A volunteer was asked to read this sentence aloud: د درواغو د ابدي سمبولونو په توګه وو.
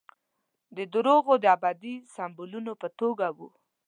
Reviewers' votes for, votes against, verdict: 2, 0, accepted